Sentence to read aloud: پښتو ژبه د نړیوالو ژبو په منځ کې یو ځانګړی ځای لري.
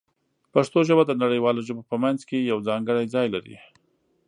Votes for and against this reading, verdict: 2, 1, accepted